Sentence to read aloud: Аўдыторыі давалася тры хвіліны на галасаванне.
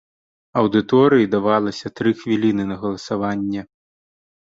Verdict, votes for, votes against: accepted, 2, 0